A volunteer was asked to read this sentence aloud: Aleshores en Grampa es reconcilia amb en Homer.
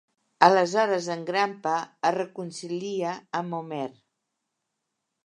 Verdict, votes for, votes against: accepted, 2, 0